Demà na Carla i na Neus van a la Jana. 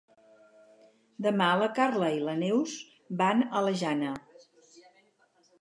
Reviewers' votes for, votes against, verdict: 0, 4, rejected